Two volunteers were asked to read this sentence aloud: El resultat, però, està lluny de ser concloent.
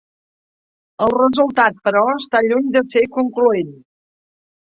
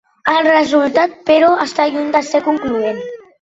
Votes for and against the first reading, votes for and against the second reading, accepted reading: 3, 0, 1, 3, first